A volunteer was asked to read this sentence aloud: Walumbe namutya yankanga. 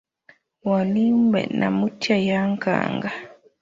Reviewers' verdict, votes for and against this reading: rejected, 0, 3